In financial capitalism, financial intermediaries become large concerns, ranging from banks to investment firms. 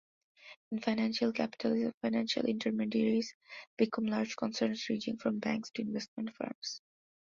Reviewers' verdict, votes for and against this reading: accepted, 3, 0